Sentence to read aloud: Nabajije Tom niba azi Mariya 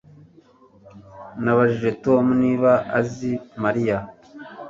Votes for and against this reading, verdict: 2, 0, accepted